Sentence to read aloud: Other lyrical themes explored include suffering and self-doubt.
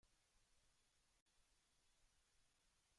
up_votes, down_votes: 0, 2